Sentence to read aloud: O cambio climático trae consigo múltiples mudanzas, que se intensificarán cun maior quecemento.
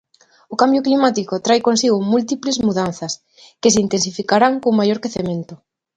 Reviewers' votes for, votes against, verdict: 2, 0, accepted